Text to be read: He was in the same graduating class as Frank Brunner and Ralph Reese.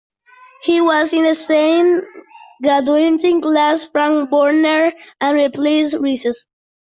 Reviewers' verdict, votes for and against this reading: rejected, 0, 2